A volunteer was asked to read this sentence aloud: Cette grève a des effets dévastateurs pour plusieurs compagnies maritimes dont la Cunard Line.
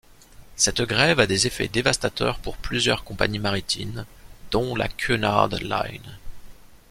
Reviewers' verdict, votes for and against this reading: rejected, 1, 2